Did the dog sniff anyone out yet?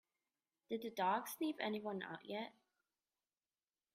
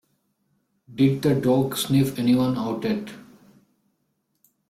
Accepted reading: second